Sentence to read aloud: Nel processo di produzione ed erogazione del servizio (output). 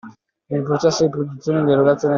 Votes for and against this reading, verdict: 0, 2, rejected